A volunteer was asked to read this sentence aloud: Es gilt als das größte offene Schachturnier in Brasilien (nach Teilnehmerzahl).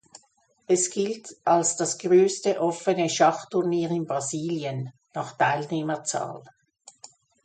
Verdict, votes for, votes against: accepted, 3, 0